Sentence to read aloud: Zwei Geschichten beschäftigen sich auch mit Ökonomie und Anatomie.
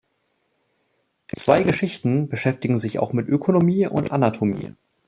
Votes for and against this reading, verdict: 1, 2, rejected